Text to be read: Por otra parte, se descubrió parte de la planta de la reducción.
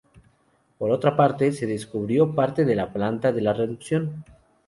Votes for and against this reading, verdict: 4, 0, accepted